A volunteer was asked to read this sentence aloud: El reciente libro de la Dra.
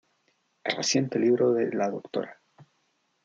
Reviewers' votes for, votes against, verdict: 2, 0, accepted